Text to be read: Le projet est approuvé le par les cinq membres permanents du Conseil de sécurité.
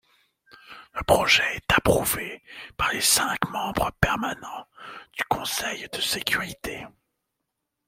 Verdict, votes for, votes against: rejected, 0, 2